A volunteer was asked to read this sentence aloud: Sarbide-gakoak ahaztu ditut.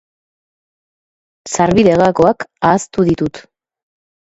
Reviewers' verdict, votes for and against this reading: accepted, 2, 0